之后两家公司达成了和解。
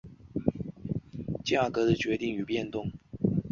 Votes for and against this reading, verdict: 1, 3, rejected